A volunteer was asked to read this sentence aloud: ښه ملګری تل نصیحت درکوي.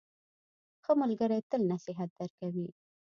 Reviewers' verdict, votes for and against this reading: accepted, 2, 0